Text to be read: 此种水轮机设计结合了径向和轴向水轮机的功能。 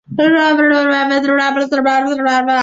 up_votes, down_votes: 0, 2